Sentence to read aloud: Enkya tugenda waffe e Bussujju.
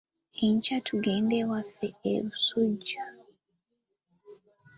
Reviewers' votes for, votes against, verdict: 0, 2, rejected